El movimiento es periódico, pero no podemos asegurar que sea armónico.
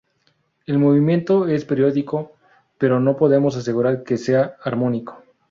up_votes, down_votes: 2, 0